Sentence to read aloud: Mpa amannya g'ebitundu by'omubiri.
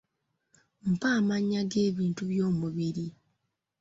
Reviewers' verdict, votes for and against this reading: rejected, 0, 2